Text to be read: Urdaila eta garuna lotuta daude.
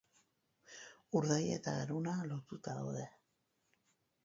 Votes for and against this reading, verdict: 0, 4, rejected